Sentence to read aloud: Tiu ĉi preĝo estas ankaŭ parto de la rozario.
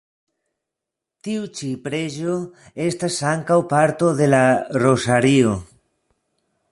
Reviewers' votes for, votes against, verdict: 2, 0, accepted